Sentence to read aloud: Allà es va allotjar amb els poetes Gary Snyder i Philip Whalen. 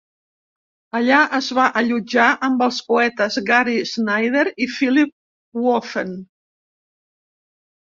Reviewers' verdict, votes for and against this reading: rejected, 0, 2